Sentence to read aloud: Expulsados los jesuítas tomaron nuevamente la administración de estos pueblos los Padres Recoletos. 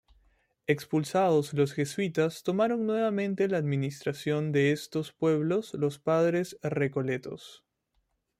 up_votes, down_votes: 1, 2